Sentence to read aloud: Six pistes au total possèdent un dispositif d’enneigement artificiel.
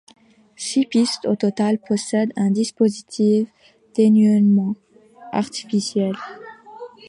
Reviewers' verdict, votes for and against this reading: rejected, 0, 2